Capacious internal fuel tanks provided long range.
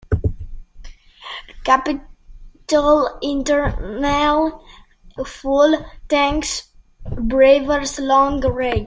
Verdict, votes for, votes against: rejected, 0, 2